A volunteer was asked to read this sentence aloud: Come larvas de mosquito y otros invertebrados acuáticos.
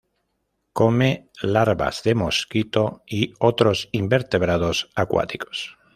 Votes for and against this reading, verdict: 2, 0, accepted